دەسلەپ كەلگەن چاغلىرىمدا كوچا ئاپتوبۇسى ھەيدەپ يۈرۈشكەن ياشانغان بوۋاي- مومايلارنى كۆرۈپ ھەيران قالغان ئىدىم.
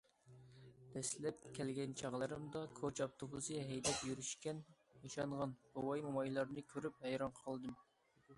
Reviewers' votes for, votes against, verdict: 0, 2, rejected